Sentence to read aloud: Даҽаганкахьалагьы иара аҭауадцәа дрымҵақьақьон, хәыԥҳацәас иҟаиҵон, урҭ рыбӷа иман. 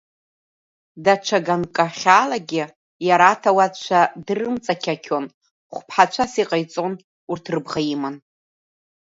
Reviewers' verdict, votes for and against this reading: rejected, 1, 2